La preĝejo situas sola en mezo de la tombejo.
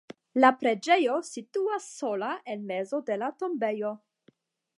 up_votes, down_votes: 10, 0